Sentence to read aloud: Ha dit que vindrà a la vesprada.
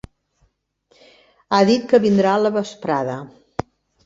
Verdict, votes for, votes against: accepted, 3, 0